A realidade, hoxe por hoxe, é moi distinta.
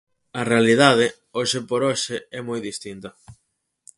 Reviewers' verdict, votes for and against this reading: accepted, 4, 0